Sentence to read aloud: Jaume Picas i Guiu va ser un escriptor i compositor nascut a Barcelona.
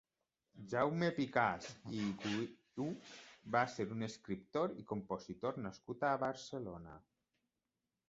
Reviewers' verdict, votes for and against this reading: rejected, 0, 2